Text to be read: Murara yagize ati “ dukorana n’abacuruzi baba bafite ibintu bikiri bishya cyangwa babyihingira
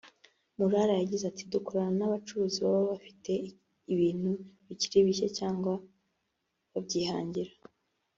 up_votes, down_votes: 0, 2